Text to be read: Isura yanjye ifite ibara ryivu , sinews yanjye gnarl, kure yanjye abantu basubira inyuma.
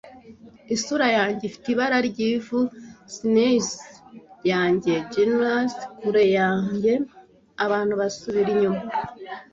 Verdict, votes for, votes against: rejected, 1, 2